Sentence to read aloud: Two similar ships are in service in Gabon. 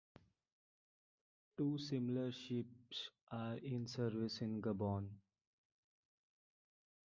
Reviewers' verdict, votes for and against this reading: rejected, 1, 2